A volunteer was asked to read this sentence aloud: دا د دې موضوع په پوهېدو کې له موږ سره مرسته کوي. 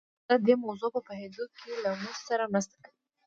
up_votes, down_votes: 0, 2